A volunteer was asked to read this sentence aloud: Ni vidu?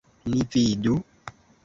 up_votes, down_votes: 2, 1